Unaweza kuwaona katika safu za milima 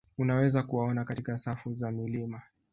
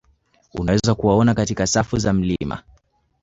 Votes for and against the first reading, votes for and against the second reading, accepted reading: 1, 2, 2, 1, second